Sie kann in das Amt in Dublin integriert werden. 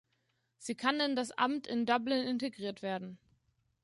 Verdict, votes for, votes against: accepted, 2, 0